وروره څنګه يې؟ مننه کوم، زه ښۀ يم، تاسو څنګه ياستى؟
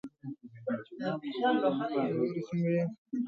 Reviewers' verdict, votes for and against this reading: rejected, 0, 2